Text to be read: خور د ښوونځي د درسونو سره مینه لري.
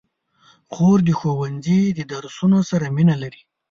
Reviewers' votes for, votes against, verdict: 7, 0, accepted